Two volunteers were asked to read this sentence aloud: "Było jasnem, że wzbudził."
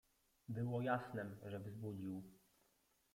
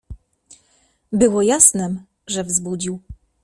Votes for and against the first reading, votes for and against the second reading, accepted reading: 1, 2, 2, 0, second